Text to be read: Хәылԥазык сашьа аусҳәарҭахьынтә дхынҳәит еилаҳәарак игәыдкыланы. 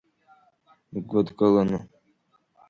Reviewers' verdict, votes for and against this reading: rejected, 1, 2